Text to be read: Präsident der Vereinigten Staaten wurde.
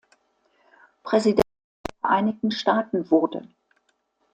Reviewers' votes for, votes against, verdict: 0, 2, rejected